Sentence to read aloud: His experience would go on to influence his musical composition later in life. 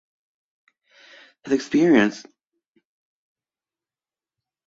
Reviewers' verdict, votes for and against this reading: rejected, 0, 2